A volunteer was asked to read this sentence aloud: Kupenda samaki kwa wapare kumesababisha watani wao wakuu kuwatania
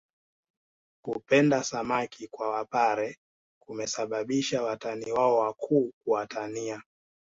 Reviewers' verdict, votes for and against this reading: accepted, 3, 0